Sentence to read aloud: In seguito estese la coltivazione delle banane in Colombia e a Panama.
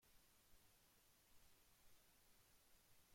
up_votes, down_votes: 0, 2